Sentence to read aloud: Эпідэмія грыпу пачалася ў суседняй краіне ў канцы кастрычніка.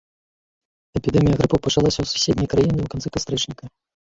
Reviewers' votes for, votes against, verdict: 0, 2, rejected